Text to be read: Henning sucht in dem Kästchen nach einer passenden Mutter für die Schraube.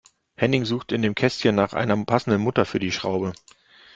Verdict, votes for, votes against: rejected, 0, 2